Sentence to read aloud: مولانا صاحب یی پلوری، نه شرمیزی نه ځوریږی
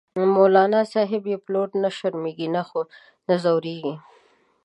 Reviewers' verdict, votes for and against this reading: accepted, 2, 0